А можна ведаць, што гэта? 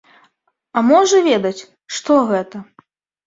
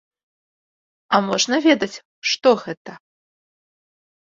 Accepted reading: second